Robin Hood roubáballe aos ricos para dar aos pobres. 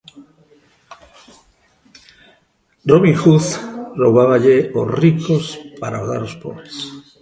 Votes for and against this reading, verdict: 0, 2, rejected